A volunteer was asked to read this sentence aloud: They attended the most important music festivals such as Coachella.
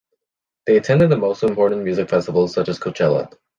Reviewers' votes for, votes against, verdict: 2, 0, accepted